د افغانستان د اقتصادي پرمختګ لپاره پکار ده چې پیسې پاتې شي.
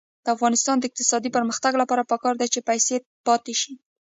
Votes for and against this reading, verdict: 2, 0, accepted